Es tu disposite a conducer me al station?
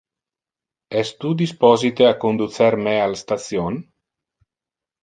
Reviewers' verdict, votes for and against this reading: accepted, 2, 0